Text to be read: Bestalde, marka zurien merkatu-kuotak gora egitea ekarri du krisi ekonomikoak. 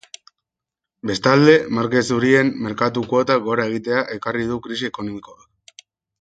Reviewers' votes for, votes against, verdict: 0, 2, rejected